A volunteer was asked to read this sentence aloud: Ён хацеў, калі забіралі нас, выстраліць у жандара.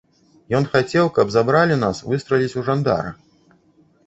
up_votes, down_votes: 0, 2